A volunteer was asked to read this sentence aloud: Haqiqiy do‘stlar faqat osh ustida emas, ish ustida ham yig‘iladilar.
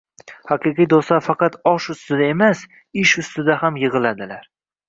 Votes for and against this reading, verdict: 1, 2, rejected